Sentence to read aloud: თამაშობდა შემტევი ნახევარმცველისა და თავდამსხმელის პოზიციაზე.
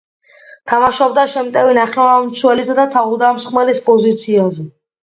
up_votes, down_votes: 2, 0